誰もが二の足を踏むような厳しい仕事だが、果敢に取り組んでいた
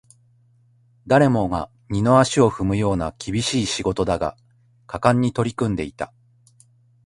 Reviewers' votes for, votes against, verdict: 2, 0, accepted